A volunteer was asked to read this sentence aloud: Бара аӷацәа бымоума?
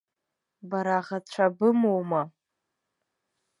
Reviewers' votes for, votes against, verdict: 1, 2, rejected